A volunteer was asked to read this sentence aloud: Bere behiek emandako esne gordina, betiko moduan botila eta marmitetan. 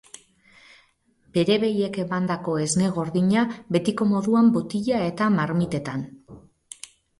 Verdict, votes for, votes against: accepted, 4, 0